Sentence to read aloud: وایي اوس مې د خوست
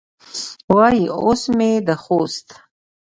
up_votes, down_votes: 1, 2